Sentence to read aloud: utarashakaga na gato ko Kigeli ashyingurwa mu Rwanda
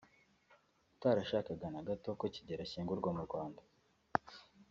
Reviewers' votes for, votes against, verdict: 2, 1, accepted